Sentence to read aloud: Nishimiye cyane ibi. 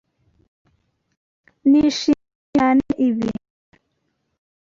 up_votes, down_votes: 0, 2